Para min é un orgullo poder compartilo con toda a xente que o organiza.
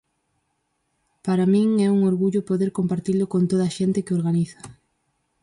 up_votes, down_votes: 4, 0